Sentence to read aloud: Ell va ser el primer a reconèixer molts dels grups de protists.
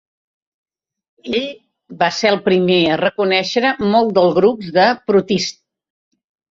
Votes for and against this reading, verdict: 3, 1, accepted